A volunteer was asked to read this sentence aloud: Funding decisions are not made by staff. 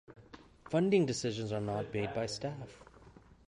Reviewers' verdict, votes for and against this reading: accepted, 2, 1